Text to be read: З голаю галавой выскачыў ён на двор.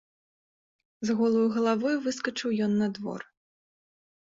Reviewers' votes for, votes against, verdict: 2, 0, accepted